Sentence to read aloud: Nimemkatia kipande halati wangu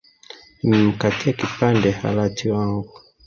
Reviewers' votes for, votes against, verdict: 0, 2, rejected